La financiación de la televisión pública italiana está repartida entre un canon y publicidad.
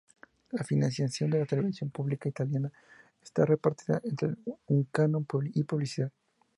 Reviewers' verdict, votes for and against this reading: accepted, 2, 0